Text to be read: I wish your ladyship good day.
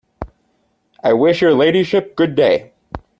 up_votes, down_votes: 2, 0